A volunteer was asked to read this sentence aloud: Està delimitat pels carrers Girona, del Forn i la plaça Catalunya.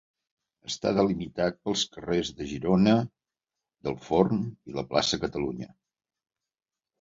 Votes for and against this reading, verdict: 0, 2, rejected